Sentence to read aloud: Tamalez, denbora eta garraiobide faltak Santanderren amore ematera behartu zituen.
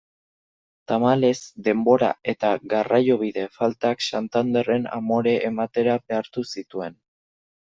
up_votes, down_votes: 2, 0